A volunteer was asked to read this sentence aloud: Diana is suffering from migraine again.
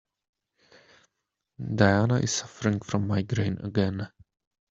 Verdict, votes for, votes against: rejected, 1, 2